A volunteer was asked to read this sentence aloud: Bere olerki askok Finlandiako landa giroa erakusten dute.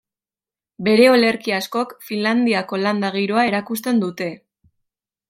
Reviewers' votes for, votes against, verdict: 2, 0, accepted